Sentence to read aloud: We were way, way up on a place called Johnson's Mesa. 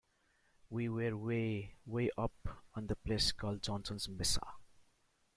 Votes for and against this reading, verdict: 0, 2, rejected